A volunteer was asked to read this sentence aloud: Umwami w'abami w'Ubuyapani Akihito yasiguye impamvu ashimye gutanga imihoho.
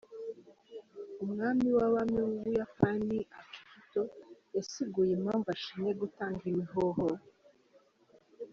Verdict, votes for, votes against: rejected, 2, 3